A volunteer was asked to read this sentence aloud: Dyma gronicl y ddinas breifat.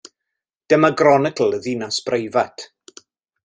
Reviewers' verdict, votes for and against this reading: accepted, 2, 0